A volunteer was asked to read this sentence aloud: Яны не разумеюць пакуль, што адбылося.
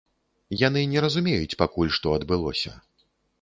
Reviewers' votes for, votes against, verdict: 3, 0, accepted